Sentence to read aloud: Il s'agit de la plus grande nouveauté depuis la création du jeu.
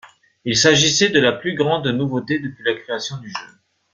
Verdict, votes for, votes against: rejected, 0, 2